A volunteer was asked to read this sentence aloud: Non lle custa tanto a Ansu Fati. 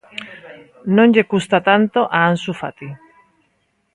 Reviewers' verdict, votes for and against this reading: accepted, 2, 1